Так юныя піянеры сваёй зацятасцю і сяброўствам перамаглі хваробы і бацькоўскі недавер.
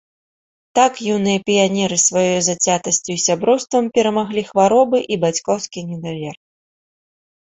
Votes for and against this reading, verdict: 2, 0, accepted